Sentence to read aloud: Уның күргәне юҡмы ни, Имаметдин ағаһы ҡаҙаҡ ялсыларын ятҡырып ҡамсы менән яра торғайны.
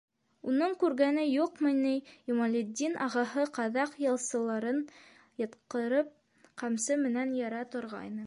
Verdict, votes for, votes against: rejected, 1, 2